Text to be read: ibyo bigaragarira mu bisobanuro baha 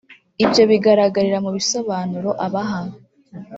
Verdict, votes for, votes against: rejected, 1, 2